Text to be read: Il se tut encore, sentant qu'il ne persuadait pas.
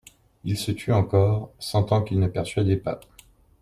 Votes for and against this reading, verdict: 2, 0, accepted